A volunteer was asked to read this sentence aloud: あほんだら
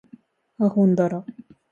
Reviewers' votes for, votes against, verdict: 2, 0, accepted